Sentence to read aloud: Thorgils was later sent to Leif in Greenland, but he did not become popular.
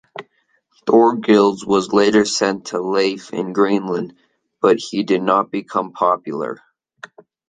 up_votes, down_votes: 2, 0